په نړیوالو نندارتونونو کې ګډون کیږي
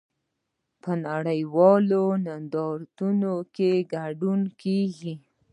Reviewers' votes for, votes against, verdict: 2, 1, accepted